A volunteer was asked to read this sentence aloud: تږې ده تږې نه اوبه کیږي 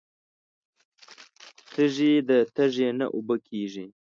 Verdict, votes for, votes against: accepted, 2, 0